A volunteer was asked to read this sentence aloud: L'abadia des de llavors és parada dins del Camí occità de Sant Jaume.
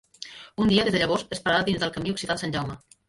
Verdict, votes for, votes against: rejected, 0, 2